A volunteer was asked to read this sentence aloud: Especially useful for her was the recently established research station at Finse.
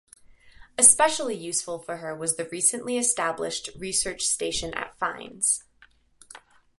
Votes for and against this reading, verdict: 2, 1, accepted